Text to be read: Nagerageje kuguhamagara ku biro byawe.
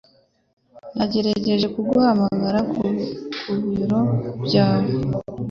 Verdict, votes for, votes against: accepted, 2, 0